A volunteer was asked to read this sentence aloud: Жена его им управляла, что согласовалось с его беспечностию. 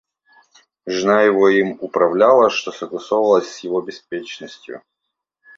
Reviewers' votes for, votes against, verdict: 2, 0, accepted